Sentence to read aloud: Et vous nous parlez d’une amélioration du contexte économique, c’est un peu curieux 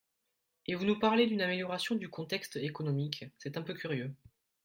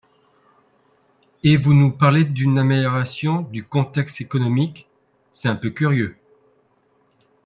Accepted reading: first